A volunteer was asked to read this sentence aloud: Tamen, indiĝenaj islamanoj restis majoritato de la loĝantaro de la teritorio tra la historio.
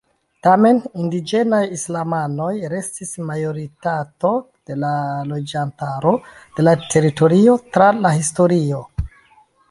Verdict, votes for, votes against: rejected, 1, 2